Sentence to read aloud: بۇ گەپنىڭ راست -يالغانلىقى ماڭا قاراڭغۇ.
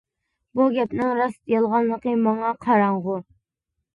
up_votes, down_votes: 2, 0